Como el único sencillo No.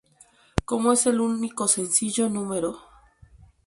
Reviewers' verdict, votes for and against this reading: rejected, 2, 2